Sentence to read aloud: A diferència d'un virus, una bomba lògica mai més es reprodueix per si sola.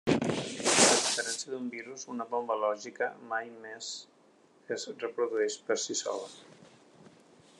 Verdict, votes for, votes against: rejected, 1, 2